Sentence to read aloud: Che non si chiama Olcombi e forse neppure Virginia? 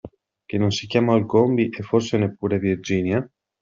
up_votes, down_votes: 2, 0